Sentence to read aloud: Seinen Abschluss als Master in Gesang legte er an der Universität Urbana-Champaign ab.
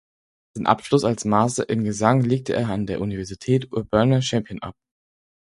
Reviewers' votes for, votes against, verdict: 2, 4, rejected